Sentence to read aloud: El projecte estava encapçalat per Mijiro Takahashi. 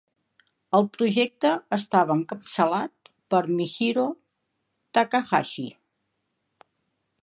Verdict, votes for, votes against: rejected, 1, 2